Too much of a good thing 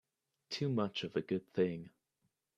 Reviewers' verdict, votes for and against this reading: accepted, 2, 0